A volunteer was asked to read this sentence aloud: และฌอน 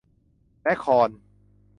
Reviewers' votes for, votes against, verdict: 0, 2, rejected